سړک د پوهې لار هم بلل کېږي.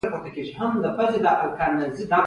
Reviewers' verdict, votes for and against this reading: accepted, 2, 0